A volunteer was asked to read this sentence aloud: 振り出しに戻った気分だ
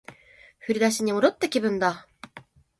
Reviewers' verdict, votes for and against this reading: accepted, 2, 1